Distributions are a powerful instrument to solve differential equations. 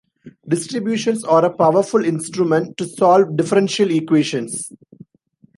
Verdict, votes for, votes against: accepted, 2, 0